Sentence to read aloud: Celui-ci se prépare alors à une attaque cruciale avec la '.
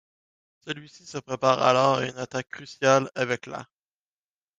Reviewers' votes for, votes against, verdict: 0, 2, rejected